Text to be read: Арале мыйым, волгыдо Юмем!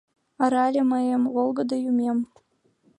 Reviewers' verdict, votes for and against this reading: accepted, 3, 0